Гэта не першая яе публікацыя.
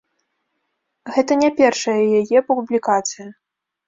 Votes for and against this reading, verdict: 2, 0, accepted